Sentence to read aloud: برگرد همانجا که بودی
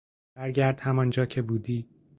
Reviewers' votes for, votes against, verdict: 2, 0, accepted